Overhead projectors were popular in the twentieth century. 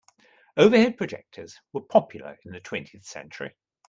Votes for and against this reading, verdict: 3, 0, accepted